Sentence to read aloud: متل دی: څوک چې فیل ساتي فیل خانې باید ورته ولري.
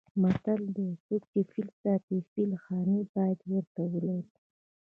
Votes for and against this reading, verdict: 2, 0, accepted